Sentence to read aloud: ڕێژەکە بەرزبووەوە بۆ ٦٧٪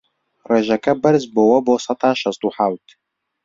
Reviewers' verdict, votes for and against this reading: rejected, 0, 2